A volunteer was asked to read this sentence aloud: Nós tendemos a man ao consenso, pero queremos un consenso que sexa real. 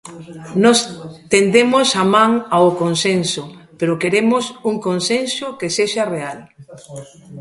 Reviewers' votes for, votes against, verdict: 1, 2, rejected